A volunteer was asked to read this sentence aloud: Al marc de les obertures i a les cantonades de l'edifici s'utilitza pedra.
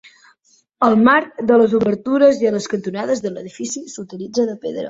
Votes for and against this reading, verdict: 0, 2, rejected